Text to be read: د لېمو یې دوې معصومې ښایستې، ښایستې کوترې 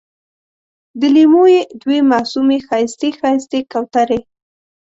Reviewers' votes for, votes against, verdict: 2, 0, accepted